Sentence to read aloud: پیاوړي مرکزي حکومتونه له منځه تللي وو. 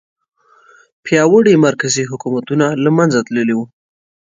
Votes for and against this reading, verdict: 3, 0, accepted